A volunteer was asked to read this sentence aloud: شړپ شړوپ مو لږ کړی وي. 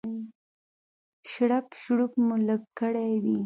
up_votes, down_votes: 2, 0